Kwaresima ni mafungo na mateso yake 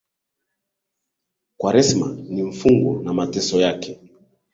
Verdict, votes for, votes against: accepted, 2, 0